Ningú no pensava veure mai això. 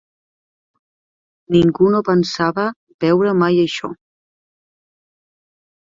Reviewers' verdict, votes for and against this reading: accepted, 2, 0